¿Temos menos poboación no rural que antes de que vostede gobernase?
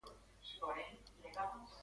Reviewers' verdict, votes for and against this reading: rejected, 0, 2